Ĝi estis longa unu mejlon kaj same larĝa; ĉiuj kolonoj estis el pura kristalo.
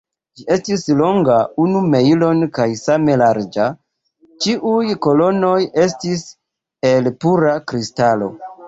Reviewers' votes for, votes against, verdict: 2, 0, accepted